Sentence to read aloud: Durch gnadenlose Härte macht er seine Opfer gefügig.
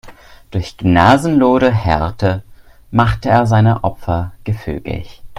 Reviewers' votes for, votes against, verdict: 1, 3, rejected